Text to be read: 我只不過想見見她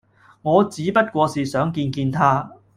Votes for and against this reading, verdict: 0, 2, rejected